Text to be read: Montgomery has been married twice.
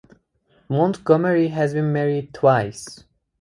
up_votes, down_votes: 2, 2